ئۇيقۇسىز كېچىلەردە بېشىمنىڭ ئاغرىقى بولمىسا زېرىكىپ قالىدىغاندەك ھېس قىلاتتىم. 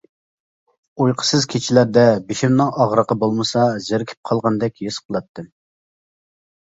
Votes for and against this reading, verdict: 0, 2, rejected